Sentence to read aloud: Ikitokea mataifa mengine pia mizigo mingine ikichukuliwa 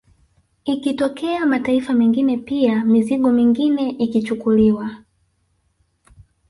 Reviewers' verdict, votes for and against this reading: accepted, 2, 0